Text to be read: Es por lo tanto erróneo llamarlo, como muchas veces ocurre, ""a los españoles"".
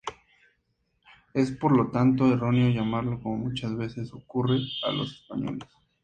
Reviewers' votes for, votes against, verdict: 2, 0, accepted